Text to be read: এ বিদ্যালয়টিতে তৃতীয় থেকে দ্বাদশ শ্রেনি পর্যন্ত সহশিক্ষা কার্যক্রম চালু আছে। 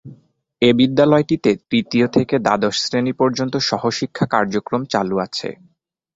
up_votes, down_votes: 3, 0